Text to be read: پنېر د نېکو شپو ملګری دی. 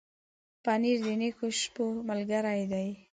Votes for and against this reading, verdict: 2, 0, accepted